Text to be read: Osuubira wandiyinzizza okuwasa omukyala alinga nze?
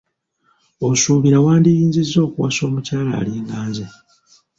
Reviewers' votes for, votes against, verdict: 0, 2, rejected